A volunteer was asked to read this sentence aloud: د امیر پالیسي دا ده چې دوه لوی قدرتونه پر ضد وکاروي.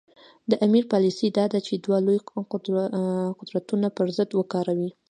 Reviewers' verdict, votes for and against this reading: accepted, 2, 1